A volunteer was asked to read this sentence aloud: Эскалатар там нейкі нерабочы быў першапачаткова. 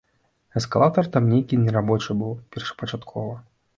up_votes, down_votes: 2, 0